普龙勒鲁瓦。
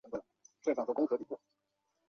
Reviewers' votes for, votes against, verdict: 0, 2, rejected